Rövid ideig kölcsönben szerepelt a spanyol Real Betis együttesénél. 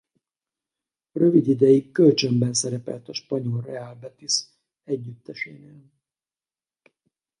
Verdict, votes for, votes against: rejected, 0, 4